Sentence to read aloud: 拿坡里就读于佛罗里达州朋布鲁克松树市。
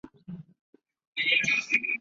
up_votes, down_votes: 0, 3